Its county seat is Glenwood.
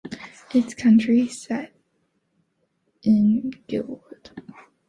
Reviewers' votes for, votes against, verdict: 0, 2, rejected